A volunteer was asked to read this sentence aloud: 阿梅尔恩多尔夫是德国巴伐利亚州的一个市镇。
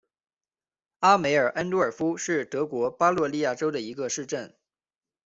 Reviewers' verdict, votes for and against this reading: accepted, 2, 1